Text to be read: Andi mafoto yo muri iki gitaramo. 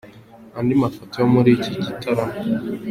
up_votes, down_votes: 3, 0